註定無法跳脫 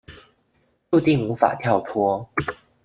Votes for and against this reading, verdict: 1, 2, rejected